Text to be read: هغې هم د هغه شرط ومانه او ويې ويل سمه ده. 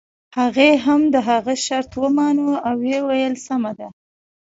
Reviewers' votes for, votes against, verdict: 2, 0, accepted